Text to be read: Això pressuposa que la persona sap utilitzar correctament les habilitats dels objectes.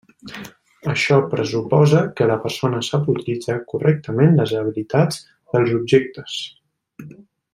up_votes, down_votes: 2, 1